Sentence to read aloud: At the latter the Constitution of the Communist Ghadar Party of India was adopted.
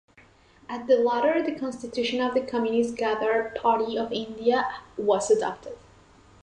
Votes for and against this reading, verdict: 2, 0, accepted